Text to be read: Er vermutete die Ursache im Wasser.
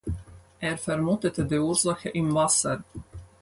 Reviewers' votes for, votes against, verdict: 4, 2, accepted